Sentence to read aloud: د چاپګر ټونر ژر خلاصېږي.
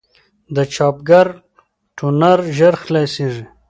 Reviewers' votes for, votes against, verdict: 2, 0, accepted